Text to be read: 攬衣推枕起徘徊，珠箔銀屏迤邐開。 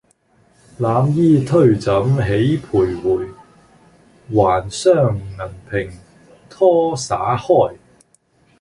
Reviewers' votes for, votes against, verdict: 1, 2, rejected